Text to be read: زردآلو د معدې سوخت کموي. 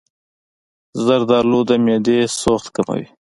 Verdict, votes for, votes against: accepted, 2, 0